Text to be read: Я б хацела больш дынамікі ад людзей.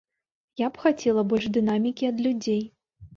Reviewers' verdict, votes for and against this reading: rejected, 1, 2